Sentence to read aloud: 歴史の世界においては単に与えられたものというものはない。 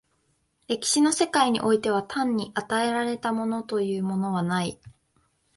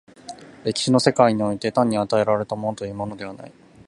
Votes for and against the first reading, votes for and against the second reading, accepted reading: 7, 0, 0, 2, first